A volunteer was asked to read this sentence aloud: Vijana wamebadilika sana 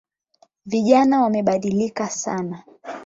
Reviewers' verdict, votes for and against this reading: accepted, 8, 0